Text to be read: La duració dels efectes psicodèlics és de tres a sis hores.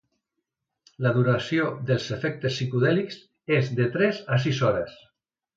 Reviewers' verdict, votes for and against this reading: accepted, 2, 0